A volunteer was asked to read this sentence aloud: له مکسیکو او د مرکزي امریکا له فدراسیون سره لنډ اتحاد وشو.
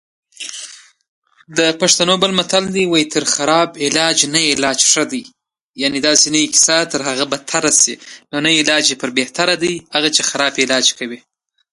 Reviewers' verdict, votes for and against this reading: rejected, 0, 2